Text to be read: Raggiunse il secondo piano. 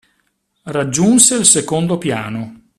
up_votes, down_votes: 2, 0